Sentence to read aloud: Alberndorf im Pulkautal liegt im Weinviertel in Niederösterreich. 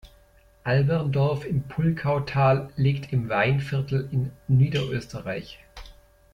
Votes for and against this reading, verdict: 2, 0, accepted